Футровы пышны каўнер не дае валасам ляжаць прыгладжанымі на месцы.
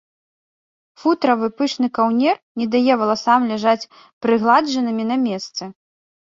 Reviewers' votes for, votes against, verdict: 1, 2, rejected